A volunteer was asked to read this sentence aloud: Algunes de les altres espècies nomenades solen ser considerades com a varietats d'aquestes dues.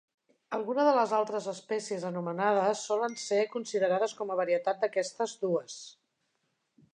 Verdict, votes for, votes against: rejected, 2, 3